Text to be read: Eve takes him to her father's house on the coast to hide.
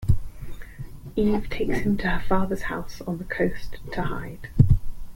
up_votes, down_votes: 2, 1